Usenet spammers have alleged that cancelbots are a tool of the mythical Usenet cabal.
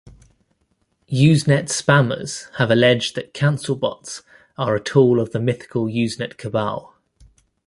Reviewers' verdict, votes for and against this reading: accepted, 2, 0